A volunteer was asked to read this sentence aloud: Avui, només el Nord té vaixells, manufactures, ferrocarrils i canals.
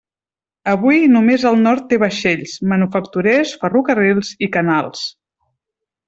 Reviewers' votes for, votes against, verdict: 1, 2, rejected